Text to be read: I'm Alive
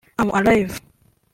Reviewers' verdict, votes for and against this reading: accepted, 2, 0